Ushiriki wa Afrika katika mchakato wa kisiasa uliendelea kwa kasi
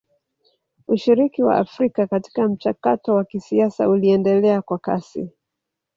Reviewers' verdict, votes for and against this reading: rejected, 1, 2